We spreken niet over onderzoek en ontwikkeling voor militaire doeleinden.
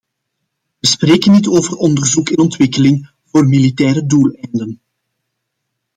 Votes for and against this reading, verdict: 2, 0, accepted